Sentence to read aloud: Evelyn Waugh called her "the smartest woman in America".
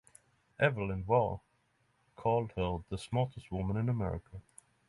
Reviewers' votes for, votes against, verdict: 3, 0, accepted